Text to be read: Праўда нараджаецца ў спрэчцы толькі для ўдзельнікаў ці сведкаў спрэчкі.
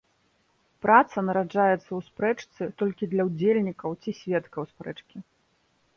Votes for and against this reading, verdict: 0, 2, rejected